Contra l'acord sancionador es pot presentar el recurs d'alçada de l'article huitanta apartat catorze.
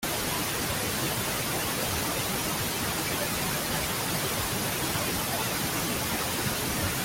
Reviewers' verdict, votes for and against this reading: rejected, 0, 2